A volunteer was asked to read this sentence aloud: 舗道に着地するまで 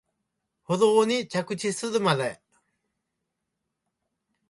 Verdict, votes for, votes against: rejected, 0, 2